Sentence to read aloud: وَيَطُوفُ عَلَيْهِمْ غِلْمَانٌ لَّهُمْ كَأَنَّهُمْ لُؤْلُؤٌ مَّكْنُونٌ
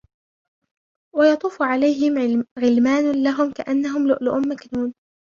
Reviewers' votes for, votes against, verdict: 0, 2, rejected